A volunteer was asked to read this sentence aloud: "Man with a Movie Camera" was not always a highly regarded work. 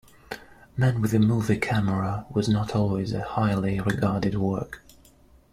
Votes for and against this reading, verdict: 2, 0, accepted